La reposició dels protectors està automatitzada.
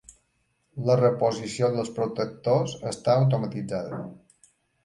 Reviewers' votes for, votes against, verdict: 3, 0, accepted